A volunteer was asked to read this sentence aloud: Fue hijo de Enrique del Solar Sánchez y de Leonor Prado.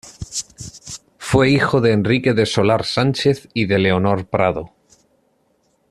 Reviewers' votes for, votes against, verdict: 1, 2, rejected